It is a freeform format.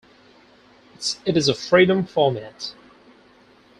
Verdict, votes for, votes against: rejected, 0, 4